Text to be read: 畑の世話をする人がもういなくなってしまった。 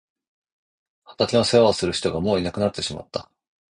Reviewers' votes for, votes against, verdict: 1, 2, rejected